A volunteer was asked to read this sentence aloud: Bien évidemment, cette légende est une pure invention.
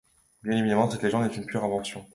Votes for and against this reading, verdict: 0, 2, rejected